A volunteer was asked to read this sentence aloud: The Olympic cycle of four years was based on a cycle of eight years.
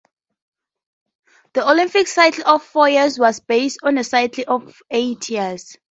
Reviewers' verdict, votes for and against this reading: accepted, 2, 0